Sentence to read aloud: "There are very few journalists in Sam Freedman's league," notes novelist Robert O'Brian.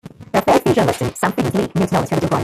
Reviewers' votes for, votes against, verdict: 0, 2, rejected